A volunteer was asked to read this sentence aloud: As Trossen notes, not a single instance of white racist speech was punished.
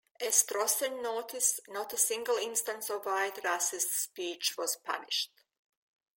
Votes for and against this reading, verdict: 0, 2, rejected